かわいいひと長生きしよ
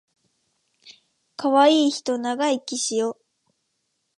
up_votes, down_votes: 2, 0